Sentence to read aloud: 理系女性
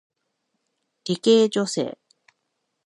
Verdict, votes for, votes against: accepted, 2, 1